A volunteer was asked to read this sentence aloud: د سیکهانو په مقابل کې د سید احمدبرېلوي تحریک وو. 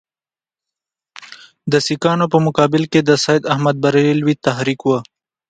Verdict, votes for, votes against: accepted, 2, 0